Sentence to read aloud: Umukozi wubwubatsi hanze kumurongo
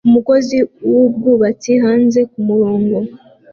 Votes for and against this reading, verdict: 2, 0, accepted